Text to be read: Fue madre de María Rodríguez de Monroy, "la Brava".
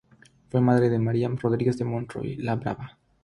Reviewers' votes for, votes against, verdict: 3, 0, accepted